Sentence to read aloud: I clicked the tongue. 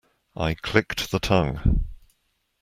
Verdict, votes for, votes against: accepted, 2, 0